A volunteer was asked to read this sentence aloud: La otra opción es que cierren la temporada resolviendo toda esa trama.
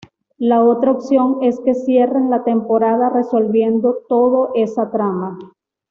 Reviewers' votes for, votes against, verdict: 2, 0, accepted